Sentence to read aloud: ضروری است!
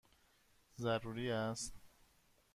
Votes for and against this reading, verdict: 1, 2, rejected